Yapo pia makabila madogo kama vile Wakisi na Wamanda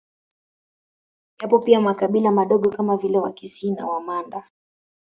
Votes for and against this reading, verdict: 2, 0, accepted